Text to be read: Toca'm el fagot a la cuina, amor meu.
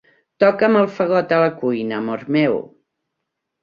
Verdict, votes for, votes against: accepted, 2, 0